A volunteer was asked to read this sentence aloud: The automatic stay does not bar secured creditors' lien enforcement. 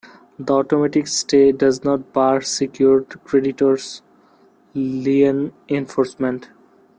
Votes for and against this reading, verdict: 0, 2, rejected